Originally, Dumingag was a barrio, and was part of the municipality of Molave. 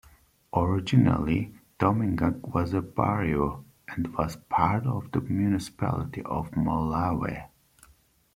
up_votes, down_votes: 0, 2